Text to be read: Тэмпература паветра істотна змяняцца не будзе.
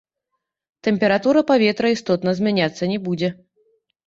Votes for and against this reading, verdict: 1, 2, rejected